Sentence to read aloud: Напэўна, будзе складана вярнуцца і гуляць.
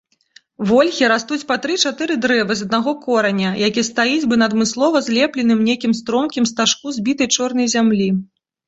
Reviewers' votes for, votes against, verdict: 1, 2, rejected